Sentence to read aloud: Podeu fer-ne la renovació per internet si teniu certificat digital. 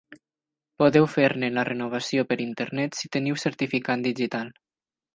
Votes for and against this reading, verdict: 4, 0, accepted